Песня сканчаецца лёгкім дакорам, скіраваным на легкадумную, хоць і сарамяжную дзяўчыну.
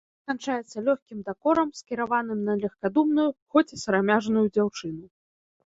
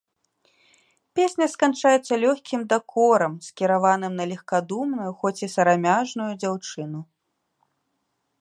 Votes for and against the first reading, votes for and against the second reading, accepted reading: 0, 2, 2, 1, second